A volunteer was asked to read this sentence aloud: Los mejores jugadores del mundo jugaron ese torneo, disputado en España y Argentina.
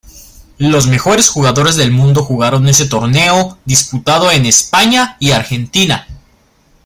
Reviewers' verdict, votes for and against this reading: accepted, 2, 0